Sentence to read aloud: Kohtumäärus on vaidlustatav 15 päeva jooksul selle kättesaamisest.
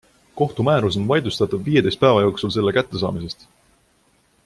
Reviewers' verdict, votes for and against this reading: rejected, 0, 2